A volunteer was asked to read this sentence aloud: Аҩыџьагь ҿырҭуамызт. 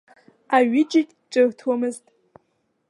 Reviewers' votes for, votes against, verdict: 2, 0, accepted